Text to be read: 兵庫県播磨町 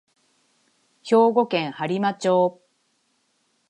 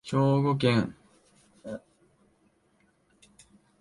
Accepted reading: first